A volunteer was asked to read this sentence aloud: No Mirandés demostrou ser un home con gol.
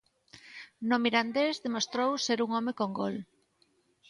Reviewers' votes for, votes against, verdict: 2, 0, accepted